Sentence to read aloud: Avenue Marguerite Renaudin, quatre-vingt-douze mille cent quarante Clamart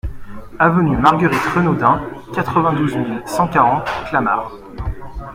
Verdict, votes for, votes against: accepted, 2, 0